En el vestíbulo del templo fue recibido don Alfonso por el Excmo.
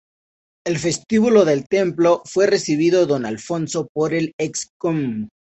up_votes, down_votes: 0, 2